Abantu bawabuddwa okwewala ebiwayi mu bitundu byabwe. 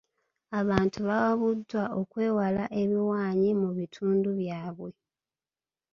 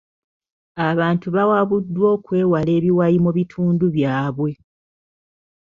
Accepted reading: second